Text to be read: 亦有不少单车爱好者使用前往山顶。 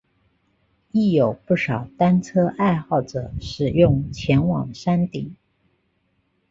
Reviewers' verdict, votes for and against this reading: accepted, 3, 0